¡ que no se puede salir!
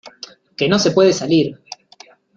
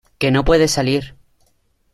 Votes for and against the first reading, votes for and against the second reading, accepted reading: 2, 0, 0, 2, first